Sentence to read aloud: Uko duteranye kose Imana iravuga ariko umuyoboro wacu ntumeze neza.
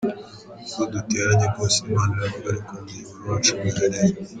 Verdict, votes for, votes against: rejected, 1, 2